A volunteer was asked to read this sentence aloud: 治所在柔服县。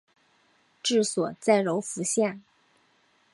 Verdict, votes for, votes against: accepted, 2, 0